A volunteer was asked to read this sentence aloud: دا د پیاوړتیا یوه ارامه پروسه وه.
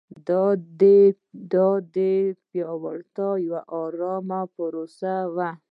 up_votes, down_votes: 2, 1